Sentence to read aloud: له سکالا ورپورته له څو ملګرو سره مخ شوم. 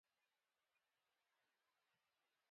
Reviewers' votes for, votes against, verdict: 0, 2, rejected